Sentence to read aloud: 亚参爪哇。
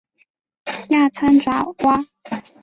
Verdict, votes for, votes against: accepted, 4, 0